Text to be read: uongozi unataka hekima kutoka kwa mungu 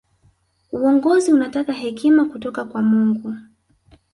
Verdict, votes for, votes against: rejected, 1, 2